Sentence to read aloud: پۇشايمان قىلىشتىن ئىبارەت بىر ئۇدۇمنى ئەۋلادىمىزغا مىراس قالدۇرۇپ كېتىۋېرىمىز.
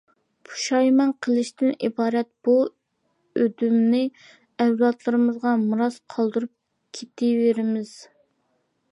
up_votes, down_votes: 0, 2